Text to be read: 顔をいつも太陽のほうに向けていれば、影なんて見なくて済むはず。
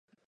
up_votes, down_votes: 0, 2